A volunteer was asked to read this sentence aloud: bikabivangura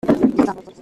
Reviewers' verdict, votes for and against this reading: rejected, 0, 2